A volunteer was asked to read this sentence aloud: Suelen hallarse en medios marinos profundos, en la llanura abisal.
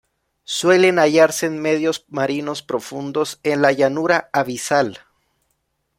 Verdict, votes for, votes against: accepted, 2, 0